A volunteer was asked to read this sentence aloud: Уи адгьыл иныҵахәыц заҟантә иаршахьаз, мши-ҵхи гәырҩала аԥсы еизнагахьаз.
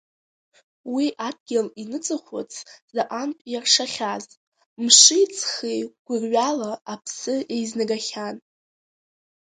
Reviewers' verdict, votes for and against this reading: accepted, 2, 0